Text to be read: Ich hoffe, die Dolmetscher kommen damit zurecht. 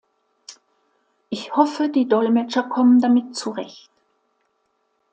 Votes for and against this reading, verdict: 2, 0, accepted